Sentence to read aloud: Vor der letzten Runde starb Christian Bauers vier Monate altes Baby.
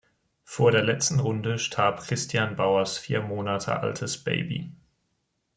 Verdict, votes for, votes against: accepted, 2, 0